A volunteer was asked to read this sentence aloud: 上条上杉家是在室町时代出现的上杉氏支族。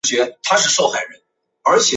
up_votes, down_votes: 3, 1